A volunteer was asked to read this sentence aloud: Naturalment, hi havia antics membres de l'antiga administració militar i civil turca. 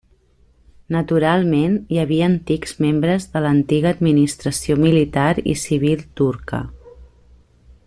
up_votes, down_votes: 3, 0